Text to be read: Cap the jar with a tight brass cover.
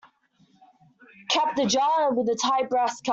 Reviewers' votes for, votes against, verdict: 0, 2, rejected